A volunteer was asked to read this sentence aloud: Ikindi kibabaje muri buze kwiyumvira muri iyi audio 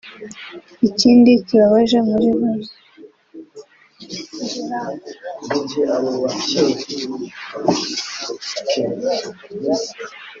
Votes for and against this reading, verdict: 1, 3, rejected